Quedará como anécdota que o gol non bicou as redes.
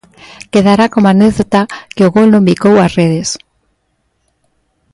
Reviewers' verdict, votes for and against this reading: accepted, 2, 0